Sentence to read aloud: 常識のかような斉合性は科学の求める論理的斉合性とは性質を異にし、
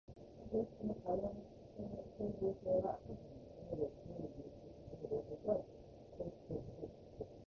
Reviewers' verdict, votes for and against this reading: rejected, 0, 2